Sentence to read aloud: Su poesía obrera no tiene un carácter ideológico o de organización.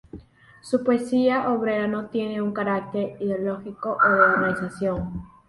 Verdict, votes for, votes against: rejected, 2, 2